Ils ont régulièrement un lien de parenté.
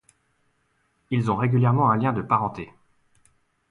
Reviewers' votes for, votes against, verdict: 2, 0, accepted